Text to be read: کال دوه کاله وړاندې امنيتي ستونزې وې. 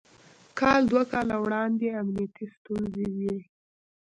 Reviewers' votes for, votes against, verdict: 1, 2, rejected